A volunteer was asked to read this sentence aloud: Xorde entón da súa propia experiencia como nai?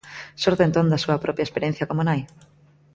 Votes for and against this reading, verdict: 2, 0, accepted